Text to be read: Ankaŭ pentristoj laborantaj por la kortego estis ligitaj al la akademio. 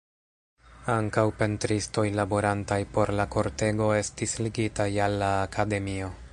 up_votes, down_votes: 2, 0